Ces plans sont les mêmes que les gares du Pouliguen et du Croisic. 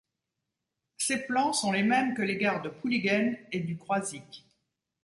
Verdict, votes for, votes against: rejected, 0, 2